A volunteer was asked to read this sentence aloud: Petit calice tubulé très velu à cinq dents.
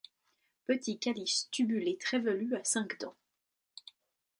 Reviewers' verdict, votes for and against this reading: accepted, 2, 0